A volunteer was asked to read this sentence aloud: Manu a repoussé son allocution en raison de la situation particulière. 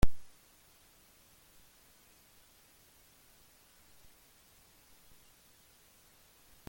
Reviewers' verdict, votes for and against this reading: rejected, 0, 2